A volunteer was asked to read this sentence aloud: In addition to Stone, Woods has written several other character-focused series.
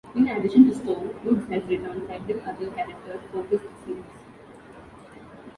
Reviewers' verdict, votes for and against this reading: rejected, 0, 2